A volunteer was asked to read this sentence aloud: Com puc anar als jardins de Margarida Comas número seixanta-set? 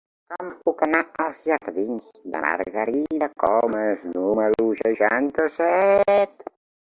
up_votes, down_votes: 0, 2